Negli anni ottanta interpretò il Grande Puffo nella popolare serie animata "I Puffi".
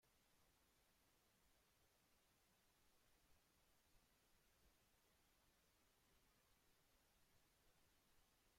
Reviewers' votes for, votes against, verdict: 0, 2, rejected